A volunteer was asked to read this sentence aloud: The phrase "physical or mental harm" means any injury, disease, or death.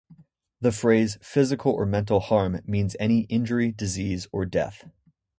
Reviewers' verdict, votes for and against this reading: accepted, 2, 0